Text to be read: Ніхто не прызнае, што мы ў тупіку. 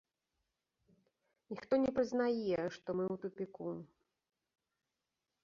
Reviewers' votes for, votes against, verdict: 0, 2, rejected